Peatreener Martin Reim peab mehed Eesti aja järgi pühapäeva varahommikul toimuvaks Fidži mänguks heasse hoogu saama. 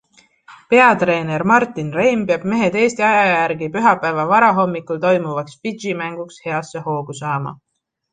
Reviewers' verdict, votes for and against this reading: accepted, 2, 0